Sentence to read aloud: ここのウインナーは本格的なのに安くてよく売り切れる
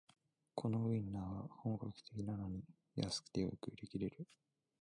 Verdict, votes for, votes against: rejected, 1, 2